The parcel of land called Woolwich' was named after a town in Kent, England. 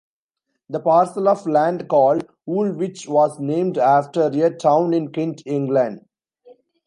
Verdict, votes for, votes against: rejected, 1, 2